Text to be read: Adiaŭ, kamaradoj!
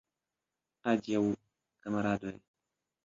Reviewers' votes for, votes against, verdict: 3, 2, accepted